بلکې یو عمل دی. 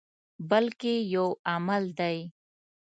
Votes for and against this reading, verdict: 2, 0, accepted